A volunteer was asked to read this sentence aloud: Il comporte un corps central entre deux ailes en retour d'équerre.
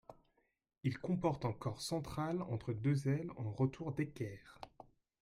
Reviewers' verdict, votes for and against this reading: accepted, 2, 1